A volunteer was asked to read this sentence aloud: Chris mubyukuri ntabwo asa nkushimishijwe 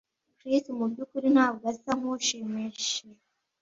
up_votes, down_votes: 1, 2